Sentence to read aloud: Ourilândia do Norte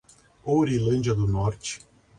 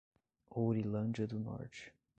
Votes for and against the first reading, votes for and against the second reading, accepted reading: 2, 0, 0, 2, first